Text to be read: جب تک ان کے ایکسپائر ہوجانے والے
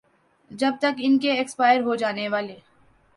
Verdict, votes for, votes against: accepted, 3, 0